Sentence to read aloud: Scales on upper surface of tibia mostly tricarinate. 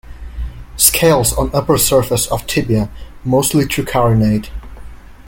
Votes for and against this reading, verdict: 2, 0, accepted